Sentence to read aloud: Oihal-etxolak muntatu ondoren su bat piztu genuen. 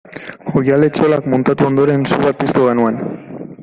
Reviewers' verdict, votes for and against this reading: rejected, 0, 2